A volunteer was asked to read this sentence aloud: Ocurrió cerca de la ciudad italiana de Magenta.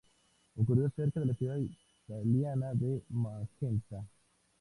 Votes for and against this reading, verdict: 2, 0, accepted